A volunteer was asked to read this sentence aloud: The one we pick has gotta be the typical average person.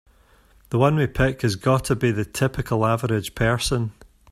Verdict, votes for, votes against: accepted, 3, 0